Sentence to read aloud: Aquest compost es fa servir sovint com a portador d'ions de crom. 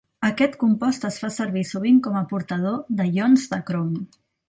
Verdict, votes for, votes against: rejected, 1, 2